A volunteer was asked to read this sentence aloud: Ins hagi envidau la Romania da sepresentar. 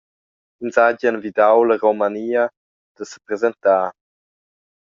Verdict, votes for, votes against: rejected, 1, 2